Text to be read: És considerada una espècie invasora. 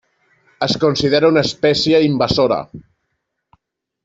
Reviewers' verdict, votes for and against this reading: rejected, 1, 2